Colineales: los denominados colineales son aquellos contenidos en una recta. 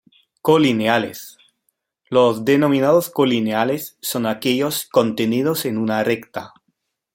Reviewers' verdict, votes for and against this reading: accepted, 2, 1